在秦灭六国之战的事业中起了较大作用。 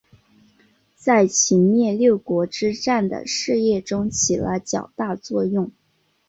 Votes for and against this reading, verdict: 2, 0, accepted